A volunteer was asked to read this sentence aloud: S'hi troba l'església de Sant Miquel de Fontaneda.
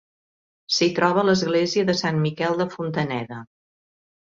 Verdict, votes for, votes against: accepted, 4, 0